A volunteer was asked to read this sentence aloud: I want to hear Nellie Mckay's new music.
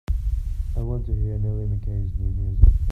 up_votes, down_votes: 0, 2